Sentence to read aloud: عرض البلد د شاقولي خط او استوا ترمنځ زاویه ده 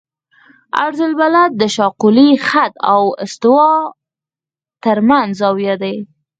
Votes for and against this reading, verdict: 2, 4, rejected